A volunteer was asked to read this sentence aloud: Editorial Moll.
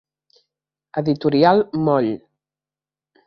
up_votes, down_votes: 3, 0